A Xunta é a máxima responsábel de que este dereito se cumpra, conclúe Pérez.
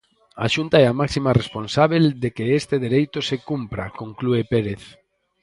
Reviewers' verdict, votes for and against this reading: rejected, 2, 2